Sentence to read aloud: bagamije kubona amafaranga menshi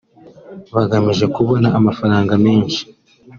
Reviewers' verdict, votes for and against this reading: accepted, 4, 0